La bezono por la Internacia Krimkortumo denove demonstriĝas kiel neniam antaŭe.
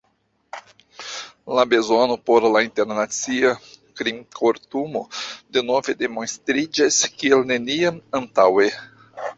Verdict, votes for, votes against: accepted, 2, 1